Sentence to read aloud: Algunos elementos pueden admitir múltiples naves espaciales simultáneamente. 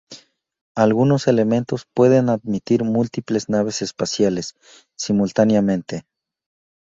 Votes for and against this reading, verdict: 0, 2, rejected